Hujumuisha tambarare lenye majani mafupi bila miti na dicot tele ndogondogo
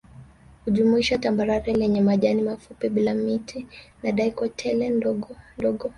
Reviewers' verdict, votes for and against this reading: rejected, 0, 2